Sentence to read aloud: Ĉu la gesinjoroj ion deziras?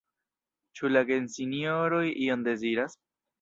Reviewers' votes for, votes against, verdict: 0, 2, rejected